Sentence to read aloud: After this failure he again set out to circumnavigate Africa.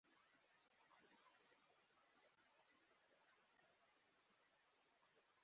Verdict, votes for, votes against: rejected, 0, 2